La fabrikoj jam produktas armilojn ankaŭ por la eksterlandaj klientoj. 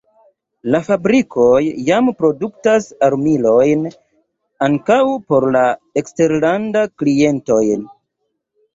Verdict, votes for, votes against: rejected, 0, 2